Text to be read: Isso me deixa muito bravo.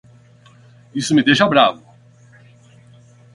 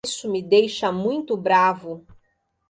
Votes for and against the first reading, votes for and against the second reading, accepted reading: 0, 8, 2, 1, second